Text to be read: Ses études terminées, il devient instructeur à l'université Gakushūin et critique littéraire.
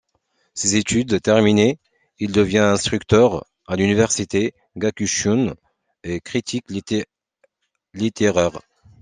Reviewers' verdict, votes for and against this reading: rejected, 1, 2